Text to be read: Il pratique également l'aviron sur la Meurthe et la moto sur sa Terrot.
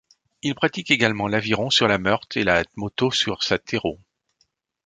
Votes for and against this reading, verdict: 2, 0, accepted